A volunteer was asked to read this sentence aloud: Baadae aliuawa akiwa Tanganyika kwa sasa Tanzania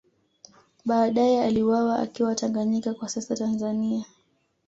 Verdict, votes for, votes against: accepted, 2, 0